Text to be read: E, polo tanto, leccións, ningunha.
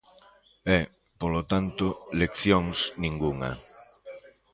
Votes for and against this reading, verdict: 1, 2, rejected